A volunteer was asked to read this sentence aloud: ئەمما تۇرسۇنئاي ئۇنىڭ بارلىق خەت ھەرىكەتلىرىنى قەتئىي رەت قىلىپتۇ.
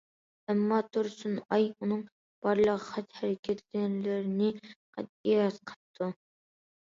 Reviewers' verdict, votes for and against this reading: accepted, 2, 0